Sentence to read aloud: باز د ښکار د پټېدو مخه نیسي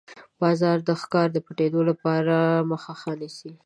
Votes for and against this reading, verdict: 1, 2, rejected